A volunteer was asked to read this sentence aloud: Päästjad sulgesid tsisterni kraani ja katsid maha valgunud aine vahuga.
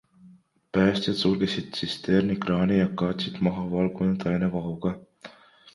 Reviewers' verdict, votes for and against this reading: accepted, 2, 0